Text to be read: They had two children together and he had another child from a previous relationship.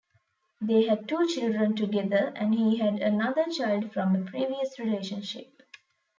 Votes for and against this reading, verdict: 2, 0, accepted